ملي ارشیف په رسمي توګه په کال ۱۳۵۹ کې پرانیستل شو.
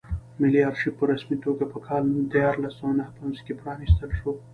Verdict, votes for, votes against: rejected, 0, 2